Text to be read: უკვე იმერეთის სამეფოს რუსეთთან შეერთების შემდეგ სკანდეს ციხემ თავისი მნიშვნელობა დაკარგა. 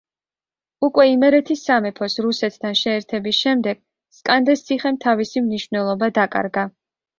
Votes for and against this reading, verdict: 2, 0, accepted